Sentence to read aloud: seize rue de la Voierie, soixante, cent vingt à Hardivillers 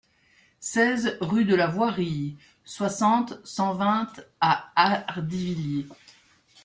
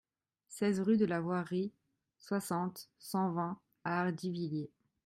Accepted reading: second